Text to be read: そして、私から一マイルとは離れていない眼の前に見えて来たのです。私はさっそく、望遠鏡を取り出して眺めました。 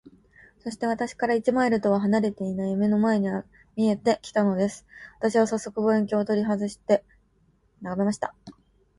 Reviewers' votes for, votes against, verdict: 0, 2, rejected